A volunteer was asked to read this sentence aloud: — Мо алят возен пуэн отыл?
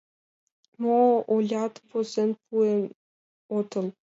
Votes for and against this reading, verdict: 0, 2, rejected